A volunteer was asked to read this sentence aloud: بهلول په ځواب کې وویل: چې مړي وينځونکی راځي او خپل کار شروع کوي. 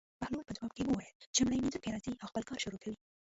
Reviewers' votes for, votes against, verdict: 0, 2, rejected